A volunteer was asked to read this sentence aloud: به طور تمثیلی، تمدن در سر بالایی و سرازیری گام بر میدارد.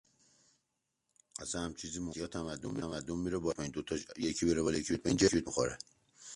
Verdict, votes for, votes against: rejected, 0, 2